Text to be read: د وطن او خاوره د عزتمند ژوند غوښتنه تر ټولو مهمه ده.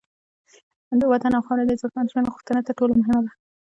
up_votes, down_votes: 1, 2